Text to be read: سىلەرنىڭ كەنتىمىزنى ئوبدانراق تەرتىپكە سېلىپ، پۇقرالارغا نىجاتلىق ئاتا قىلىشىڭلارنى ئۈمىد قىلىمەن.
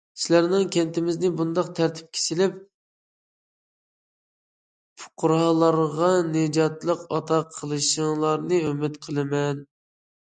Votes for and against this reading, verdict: 1, 2, rejected